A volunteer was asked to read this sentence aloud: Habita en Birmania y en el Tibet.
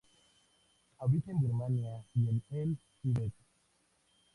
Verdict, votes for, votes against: accepted, 2, 0